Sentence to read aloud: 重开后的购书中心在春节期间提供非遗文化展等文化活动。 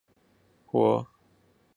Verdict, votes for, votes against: rejected, 2, 4